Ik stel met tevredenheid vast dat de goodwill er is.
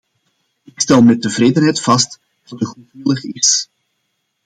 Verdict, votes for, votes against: rejected, 0, 2